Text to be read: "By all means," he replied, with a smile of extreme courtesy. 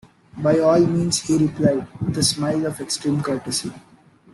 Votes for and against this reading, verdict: 2, 0, accepted